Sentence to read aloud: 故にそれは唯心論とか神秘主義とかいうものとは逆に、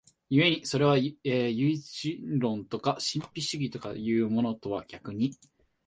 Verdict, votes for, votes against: rejected, 0, 2